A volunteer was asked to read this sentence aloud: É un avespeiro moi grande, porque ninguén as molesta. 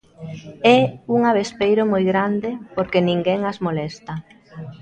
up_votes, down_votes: 2, 0